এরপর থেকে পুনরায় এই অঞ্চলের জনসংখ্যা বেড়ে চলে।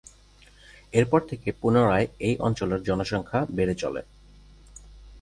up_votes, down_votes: 6, 0